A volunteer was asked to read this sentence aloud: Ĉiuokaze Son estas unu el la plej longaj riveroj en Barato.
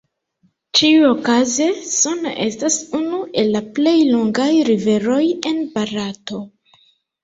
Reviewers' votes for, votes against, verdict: 2, 1, accepted